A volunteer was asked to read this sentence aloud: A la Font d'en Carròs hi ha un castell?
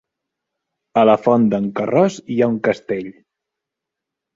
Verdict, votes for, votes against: rejected, 0, 3